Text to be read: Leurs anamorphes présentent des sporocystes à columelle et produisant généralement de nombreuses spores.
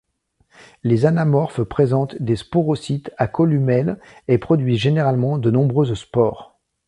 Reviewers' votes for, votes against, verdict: 0, 2, rejected